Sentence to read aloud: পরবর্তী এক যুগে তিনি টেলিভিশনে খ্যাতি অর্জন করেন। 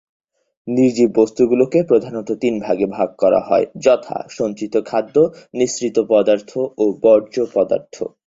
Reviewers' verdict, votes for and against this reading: rejected, 0, 2